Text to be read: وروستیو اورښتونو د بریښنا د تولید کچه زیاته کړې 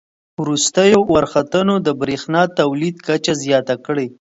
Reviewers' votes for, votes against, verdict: 0, 2, rejected